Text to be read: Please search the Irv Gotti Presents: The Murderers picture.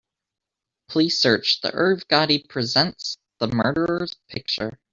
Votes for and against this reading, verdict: 2, 0, accepted